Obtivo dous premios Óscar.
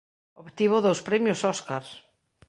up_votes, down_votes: 3, 2